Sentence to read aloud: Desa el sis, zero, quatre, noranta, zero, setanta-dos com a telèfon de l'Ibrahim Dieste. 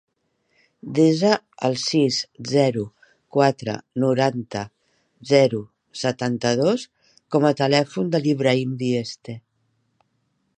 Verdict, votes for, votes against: accepted, 3, 0